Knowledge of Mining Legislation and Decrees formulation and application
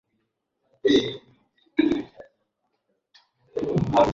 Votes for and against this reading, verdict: 0, 2, rejected